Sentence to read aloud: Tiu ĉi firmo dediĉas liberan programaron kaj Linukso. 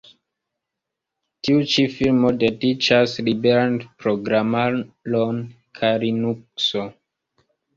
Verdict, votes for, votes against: rejected, 0, 2